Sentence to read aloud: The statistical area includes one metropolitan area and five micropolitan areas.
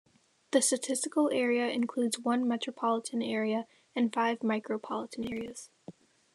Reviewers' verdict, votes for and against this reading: accepted, 3, 0